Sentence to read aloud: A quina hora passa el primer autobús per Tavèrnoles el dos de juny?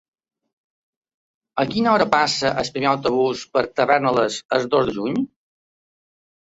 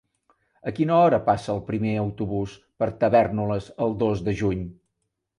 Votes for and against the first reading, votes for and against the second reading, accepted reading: 1, 2, 3, 0, second